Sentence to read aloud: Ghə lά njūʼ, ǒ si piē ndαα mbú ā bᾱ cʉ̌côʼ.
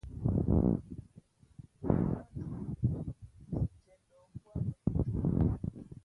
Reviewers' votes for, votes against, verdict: 1, 2, rejected